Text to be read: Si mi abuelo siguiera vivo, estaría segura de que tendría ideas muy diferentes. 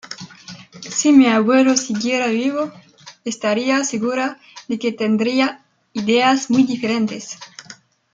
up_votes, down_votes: 2, 0